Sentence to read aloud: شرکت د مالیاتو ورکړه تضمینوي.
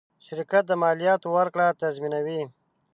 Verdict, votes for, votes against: accepted, 2, 0